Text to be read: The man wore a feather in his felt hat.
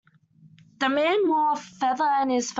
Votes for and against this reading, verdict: 2, 1, accepted